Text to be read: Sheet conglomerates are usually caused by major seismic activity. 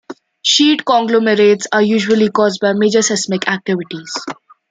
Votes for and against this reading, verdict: 2, 0, accepted